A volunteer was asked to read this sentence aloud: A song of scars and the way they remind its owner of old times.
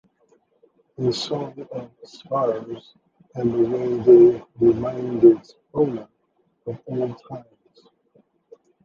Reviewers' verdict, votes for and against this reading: accepted, 3, 2